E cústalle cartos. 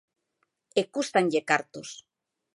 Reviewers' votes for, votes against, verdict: 0, 2, rejected